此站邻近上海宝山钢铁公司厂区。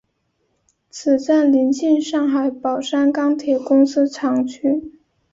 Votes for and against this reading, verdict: 6, 1, accepted